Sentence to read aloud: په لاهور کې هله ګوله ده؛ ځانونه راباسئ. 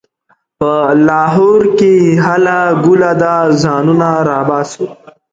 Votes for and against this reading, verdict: 1, 2, rejected